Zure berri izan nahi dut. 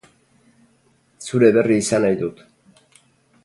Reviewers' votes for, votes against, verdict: 2, 0, accepted